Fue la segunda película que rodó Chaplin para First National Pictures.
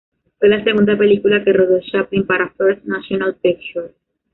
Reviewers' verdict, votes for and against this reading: rejected, 0, 2